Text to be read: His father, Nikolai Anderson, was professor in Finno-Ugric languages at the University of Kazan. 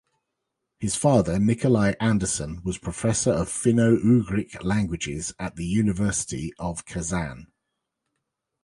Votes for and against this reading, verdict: 2, 0, accepted